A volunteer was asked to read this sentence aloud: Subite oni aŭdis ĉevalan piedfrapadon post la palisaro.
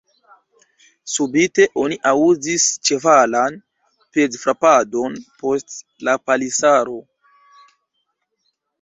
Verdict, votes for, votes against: rejected, 1, 2